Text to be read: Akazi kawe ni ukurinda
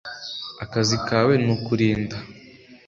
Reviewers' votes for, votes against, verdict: 2, 1, accepted